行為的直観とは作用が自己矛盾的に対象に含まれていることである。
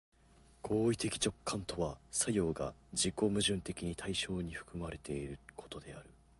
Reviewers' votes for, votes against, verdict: 4, 0, accepted